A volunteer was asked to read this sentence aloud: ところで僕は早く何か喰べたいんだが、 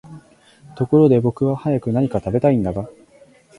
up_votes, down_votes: 2, 0